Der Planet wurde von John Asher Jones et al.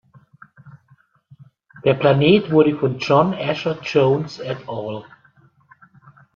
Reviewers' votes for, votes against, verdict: 1, 2, rejected